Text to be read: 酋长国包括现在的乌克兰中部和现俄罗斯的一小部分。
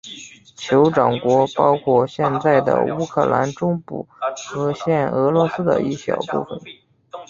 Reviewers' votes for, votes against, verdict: 2, 0, accepted